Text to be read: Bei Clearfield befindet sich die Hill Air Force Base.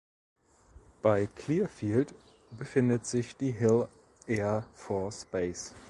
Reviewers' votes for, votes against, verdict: 2, 0, accepted